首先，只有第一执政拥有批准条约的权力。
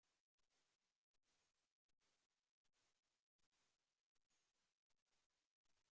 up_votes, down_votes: 0, 2